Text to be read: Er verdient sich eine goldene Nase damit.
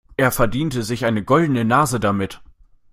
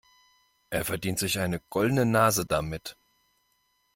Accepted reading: second